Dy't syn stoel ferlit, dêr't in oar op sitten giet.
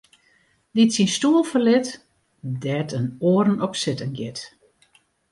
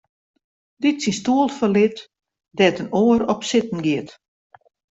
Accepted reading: second